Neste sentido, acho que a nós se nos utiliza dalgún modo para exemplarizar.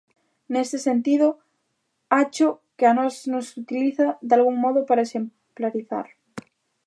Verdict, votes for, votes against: rejected, 1, 2